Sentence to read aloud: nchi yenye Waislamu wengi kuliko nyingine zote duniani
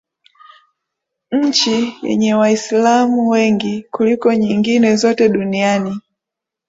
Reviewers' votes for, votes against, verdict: 13, 0, accepted